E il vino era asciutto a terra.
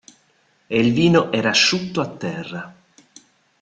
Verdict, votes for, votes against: accepted, 2, 0